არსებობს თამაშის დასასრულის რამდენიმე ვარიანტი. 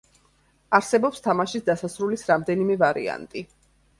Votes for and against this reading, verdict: 2, 0, accepted